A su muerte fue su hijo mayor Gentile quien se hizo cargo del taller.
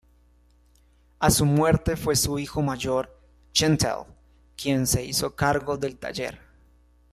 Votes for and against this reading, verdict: 1, 2, rejected